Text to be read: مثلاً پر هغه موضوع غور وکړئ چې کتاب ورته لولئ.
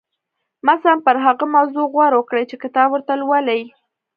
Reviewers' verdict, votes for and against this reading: rejected, 0, 2